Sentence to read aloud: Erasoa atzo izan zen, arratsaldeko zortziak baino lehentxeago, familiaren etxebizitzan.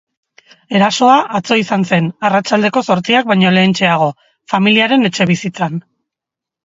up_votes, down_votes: 2, 0